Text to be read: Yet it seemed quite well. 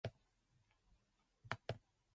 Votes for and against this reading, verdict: 0, 2, rejected